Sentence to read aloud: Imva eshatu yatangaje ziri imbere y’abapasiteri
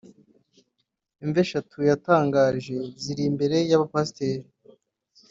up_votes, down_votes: 2, 0